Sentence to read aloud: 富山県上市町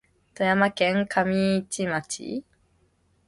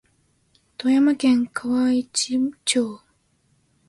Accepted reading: first